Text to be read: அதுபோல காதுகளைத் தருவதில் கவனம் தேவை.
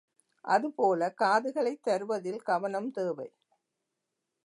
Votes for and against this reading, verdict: 2, 0, accepted